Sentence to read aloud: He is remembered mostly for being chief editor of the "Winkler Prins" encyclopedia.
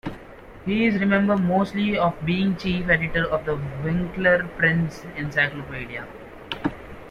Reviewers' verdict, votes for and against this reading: rejected, 0, 2